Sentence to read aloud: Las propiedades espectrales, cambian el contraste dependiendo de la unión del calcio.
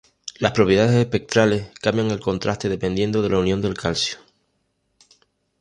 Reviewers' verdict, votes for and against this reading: rejected, 1, 2